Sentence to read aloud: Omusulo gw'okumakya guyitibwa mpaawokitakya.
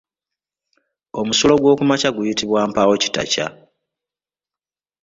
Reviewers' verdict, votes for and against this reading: accepted, 2, 0